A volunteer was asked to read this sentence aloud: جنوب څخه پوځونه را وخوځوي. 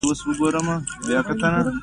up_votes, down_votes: 0, 2